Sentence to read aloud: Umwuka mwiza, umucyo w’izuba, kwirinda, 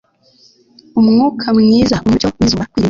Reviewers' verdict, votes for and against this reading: rejected, 1, 2